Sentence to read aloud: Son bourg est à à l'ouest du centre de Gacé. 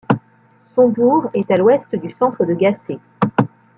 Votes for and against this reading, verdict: 0, 2, rejected